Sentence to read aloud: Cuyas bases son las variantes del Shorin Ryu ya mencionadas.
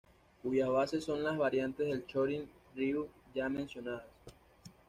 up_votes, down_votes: 1, 2